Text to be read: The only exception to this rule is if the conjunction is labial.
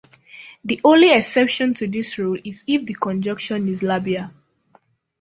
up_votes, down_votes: 2, 0